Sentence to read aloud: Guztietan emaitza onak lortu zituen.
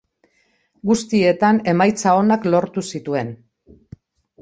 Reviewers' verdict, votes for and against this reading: accepted, 2, 0